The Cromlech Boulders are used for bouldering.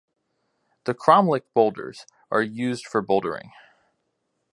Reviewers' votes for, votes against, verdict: 2, 0, accepted